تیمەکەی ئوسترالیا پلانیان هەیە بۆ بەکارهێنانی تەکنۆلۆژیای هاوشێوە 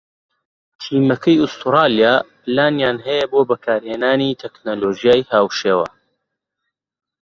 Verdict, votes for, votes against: accepted, 2, 0